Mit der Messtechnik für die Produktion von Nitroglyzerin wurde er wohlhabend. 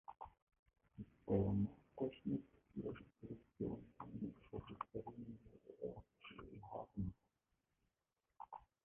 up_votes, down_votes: 1, 2